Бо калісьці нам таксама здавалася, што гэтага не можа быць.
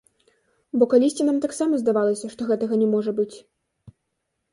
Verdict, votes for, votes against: accepted, 2, 0